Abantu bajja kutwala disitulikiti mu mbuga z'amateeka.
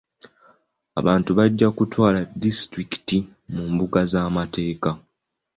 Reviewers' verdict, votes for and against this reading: accepted, 2, 0